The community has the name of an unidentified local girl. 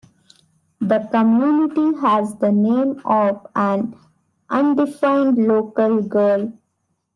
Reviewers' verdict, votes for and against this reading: rejected, 0, 2